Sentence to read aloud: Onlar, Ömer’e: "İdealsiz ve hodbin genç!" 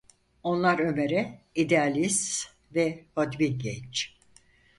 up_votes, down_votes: 0, 4